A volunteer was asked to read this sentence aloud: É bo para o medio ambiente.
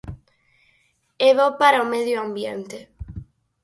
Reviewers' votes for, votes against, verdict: 4, 0, accepted